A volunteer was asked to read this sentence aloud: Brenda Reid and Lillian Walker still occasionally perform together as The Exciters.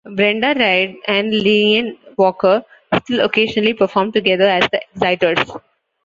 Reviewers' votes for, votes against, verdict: 0, 2, rejected